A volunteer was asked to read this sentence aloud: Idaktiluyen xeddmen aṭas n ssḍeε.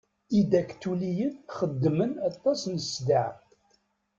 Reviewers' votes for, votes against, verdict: 0, 2, rejected